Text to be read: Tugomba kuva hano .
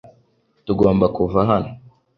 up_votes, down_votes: 2, 0